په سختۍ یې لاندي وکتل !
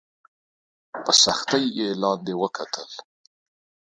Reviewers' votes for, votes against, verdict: 2, 0, accepted